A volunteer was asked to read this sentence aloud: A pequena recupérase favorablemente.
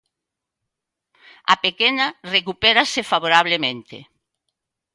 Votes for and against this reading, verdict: 2, 0, accepted